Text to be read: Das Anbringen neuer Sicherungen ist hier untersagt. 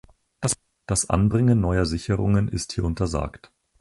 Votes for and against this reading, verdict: 0, 4, rejected